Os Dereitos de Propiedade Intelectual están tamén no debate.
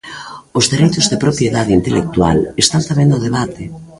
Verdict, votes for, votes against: rejected, 1, 2